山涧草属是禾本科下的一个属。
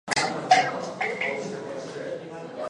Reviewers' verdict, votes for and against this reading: rejected, 0, 4